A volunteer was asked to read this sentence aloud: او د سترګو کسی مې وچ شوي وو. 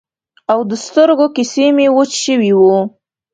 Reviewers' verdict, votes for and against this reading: rejected, 0, 2